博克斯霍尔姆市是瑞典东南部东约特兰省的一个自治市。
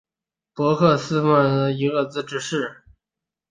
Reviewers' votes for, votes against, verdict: 0, 2, rejected